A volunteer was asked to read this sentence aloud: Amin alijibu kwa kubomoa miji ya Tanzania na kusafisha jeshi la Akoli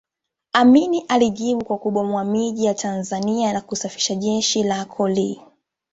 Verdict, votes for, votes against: accepted, 2, 0